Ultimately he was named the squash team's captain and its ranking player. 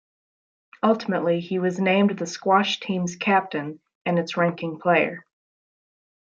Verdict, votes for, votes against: rejected, 0, 2